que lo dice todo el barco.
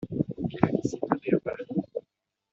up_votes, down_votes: 1, 2